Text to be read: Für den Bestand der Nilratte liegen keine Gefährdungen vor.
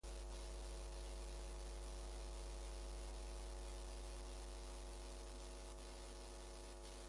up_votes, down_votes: 0, 2